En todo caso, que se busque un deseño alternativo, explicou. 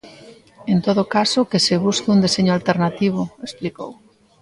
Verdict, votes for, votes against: rejected, 1, 2